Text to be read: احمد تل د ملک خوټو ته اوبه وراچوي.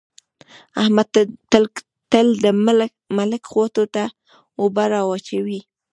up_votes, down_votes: 1, 2